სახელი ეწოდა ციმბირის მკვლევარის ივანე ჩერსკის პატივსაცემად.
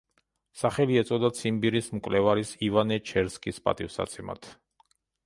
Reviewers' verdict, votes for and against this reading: accepted, 2, 0